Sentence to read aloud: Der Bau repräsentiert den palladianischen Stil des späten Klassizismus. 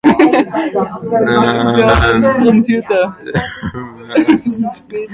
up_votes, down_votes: 0, 2